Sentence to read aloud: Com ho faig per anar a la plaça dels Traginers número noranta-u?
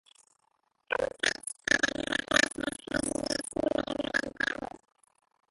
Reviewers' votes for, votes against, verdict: 1, 3, rejected